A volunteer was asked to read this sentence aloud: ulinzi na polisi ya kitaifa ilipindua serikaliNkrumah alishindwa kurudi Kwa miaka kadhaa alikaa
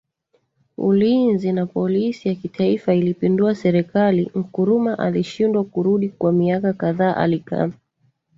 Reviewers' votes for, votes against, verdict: 2, 0, accepted